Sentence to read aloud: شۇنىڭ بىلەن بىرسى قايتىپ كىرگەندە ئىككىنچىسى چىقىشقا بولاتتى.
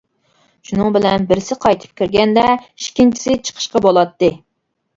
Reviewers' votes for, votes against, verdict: 2, 0, accepted